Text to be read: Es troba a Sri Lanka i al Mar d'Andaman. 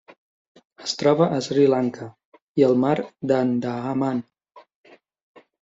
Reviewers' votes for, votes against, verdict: 0, 2, rejected